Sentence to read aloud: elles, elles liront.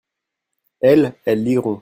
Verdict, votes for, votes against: rejected, 1, 2